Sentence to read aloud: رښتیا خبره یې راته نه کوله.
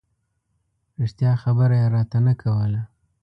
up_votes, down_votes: 2, 0